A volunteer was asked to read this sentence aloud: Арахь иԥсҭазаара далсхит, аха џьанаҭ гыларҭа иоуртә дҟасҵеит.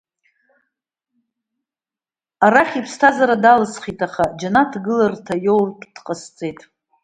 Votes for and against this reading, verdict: 0, 2, rejected